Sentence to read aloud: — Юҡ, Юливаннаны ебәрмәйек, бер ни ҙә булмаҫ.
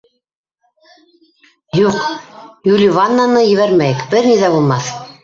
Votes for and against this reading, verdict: 1, 2, rejected